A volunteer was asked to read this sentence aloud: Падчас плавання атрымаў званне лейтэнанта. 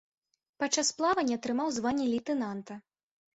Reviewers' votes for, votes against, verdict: 1, 2, rejected